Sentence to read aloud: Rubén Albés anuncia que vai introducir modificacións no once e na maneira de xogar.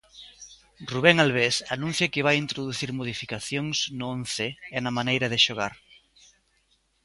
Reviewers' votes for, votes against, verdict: 2, 0, accepted